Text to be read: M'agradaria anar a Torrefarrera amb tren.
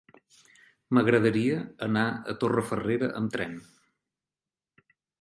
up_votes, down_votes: 4, 0